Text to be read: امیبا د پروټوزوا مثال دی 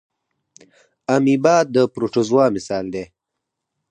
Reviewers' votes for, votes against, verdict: 4, 0, accepted